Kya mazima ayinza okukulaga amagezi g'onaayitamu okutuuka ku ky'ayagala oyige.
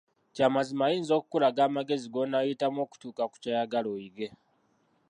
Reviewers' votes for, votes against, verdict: 0, 2, rejected